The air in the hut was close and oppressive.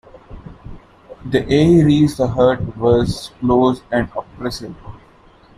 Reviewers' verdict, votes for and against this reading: rejected, 0, 2